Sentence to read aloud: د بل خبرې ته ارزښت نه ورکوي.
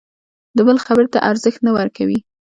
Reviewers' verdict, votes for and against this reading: accepted, 2, 0